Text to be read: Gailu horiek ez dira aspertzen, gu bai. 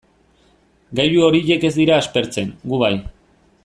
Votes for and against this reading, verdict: 2, 0, accepted